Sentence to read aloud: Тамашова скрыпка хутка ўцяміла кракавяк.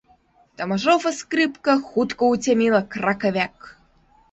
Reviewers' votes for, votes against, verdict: 1, 2, rejected